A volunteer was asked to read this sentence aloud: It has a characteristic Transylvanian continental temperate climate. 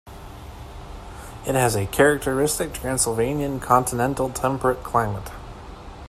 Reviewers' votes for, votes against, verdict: 2, 0, accepted